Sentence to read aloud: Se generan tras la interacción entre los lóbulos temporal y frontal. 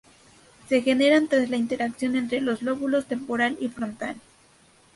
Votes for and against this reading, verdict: 2, 0, accepted